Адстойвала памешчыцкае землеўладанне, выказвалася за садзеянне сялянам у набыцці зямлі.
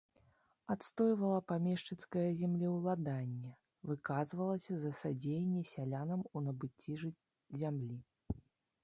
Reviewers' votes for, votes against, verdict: 0, 2, rejected